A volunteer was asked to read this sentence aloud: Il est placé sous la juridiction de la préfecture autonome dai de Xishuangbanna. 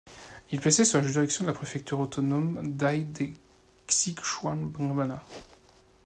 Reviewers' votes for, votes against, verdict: 1, 2, rejected